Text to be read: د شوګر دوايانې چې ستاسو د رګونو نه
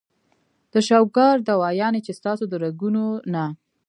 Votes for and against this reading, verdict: 1, 2, rejected